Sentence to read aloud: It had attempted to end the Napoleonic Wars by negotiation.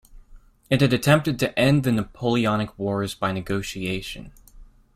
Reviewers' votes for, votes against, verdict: 2, 0, accepted